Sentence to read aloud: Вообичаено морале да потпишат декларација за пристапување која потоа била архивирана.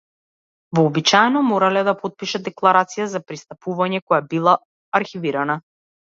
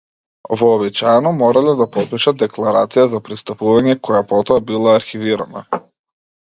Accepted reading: second